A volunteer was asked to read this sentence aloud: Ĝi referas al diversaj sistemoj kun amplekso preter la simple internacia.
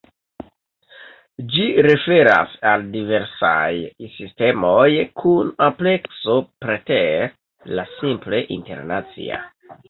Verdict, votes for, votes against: accepted, 2, 1